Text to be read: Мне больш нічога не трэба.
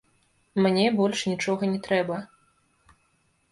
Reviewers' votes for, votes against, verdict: 0, 2, rejected